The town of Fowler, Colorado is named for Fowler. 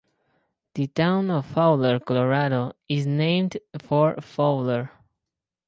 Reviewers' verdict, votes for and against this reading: accepted, 4, 0